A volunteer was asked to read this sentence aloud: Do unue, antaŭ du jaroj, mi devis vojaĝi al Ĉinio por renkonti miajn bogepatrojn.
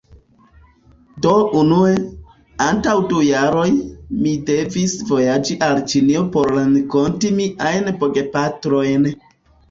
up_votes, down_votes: 1, 2